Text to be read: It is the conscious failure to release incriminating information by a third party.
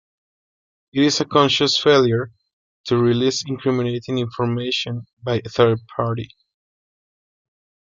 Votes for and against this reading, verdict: 2, 0, accepted